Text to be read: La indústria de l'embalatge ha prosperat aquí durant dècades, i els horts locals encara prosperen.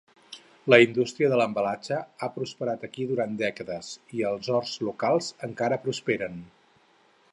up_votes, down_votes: 8, 0